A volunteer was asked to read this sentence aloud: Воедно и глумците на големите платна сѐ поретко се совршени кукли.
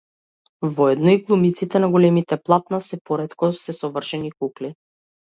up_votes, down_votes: 0, 2